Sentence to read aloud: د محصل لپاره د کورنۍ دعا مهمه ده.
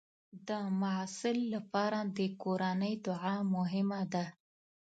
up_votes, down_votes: 2, 0